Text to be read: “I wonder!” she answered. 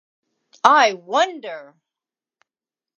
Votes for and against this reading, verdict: 0, 2, rejected